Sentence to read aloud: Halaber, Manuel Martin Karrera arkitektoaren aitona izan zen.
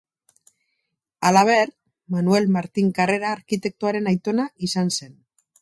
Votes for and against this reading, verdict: 4, 0, accepted